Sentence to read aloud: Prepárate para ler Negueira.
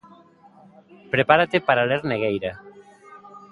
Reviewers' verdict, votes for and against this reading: rejected, 1, 2